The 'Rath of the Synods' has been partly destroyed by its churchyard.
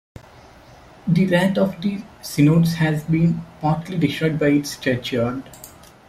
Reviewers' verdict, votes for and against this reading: accepted, 2, 0